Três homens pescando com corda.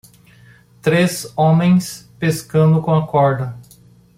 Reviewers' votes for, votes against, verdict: 1, 2, rejected